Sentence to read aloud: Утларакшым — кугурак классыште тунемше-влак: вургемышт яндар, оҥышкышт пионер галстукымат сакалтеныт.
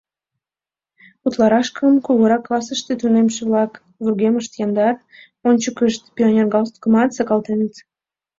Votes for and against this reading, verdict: 1, 2, rejected